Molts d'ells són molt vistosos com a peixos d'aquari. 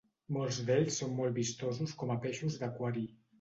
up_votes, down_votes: 2, 0